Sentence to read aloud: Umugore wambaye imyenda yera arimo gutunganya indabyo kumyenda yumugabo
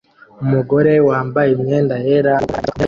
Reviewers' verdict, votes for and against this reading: rejected, 0, 2